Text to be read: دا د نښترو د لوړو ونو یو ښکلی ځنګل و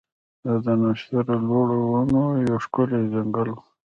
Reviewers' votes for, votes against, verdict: 1, 2, rejected